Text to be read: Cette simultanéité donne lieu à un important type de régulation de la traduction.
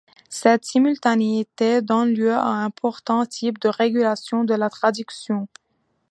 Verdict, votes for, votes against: accepted, 2, 1